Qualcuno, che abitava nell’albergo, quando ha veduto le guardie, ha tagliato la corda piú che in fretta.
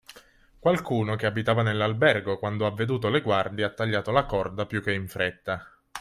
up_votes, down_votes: 3, 0